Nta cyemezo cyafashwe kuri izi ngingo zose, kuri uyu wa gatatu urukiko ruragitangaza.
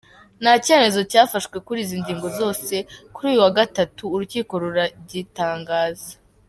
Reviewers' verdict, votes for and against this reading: accepted, 2, 0